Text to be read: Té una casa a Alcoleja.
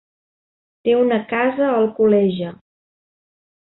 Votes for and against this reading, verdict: 3, 0, accepted